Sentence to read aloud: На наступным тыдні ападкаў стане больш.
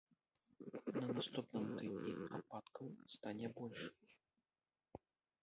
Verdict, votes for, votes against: rejected, 0, 2